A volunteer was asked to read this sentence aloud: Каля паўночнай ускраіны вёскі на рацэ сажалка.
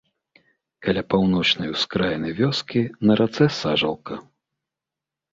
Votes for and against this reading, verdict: 3, 0, accepted